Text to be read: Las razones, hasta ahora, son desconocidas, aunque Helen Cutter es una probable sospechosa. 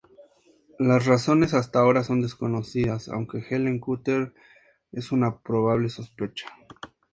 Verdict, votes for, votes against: accepted, 2, 0